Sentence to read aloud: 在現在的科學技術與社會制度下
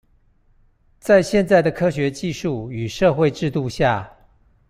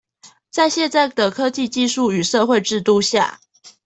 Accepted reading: first